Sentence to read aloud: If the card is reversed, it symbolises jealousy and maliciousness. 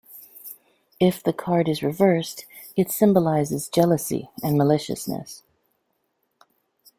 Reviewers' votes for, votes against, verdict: 2, 0, accepted